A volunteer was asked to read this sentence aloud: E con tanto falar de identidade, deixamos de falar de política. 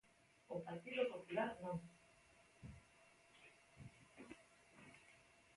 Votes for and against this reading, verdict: 0, 2, rejected